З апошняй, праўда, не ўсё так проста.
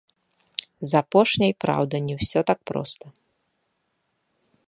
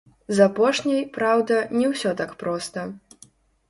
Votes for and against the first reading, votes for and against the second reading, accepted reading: 2, 0, 0, 2, first